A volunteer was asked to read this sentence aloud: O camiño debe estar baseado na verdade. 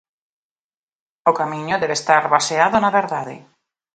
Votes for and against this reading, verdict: 2, 0, accepted